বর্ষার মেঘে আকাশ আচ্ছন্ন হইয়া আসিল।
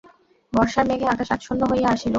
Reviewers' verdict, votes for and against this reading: accepted, 2, 0